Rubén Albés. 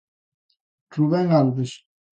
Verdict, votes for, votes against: rejected, 0, 2